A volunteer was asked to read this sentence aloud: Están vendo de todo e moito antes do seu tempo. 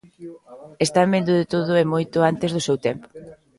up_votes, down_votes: 1, 2